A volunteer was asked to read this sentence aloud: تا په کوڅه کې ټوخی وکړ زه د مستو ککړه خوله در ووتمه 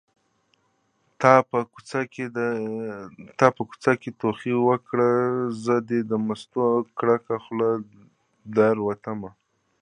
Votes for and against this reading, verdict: 1, 2, rejected